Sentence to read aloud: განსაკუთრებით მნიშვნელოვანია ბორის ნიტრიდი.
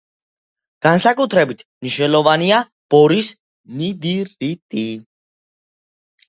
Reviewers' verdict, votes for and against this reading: rejected, 1, 2